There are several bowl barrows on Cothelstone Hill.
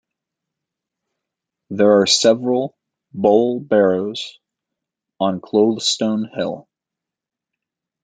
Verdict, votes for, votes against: rejected, 0, 2